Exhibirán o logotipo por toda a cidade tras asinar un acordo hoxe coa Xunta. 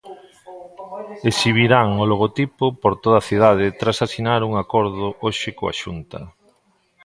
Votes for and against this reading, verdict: 1, 2, rejected